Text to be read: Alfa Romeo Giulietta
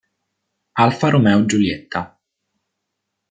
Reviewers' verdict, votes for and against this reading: accepted, 2, 0